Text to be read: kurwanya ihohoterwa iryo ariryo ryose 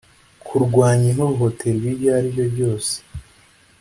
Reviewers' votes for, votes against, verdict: 2, 0, accepted